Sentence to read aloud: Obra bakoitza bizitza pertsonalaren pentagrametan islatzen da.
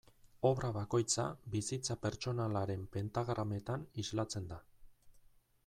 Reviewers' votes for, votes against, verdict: 2, 0, accepted